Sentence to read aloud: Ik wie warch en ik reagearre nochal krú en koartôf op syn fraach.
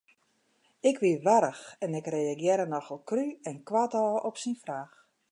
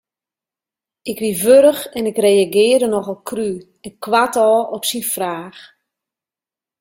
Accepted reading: first